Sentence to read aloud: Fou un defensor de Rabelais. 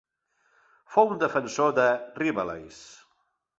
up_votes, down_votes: 1, 2